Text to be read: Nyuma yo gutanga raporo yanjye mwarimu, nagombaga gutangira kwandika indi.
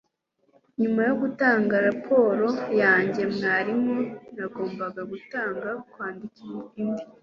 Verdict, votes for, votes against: rejected, 1, 2